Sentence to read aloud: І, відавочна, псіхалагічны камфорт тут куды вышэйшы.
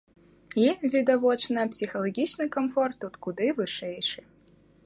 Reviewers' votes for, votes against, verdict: 2, 0, accepted